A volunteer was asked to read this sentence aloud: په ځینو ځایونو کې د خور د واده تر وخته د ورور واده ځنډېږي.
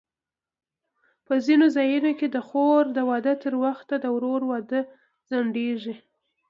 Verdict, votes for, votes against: accepted, 2, 1